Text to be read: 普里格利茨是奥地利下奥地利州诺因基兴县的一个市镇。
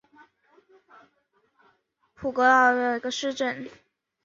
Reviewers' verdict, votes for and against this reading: accepted, 2, 1